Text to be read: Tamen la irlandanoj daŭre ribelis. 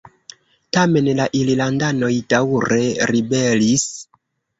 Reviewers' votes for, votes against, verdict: 1, 2, rejected